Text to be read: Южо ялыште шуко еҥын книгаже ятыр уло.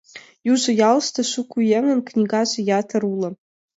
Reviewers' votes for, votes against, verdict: 2, 0, accepted